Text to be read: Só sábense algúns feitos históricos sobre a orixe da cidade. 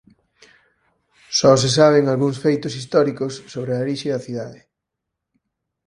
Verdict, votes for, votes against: rejected, 0, 4